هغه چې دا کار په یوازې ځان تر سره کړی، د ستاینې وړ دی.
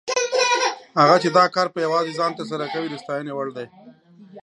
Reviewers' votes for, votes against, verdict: 1, 2, rejected